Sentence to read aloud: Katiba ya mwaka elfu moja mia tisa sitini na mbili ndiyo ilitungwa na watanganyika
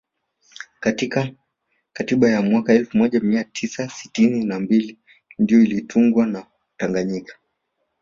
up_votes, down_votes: 1, 2